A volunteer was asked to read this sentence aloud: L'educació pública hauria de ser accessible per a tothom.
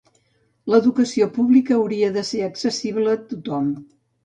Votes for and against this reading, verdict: 1, 2, rejected